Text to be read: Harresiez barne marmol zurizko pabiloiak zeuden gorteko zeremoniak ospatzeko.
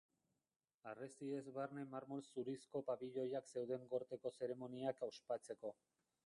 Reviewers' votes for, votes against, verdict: 0, 2, rejected